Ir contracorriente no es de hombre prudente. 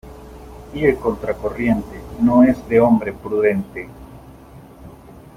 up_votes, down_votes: 2, 0